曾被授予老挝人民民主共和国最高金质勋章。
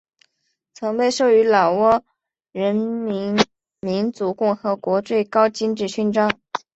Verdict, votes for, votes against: accepted, 3, 0